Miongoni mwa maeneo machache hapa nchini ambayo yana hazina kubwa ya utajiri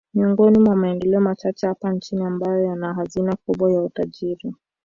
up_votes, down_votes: 1, 2